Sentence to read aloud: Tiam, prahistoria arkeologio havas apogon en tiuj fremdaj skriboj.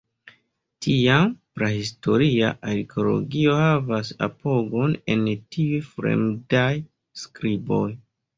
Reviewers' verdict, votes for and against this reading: accepted, 2, 0